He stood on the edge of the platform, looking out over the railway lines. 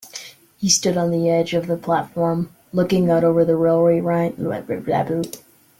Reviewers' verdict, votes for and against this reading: rejected, 1, 2